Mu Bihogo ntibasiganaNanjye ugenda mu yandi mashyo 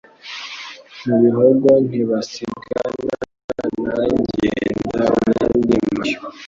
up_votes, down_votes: 0, 2